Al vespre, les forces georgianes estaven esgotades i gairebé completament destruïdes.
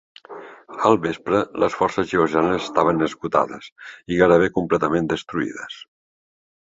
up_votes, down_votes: 1, 2